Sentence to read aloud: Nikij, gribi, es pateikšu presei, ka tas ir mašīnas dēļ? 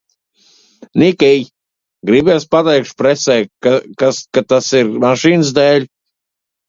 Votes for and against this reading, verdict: 0, 2, rejected